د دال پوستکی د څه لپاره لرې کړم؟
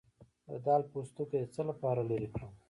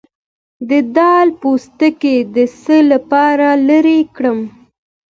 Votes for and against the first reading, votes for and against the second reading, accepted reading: 0, 3, 2, 0, second